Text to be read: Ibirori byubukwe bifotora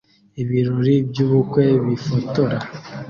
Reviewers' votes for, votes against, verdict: 2, 0, accepted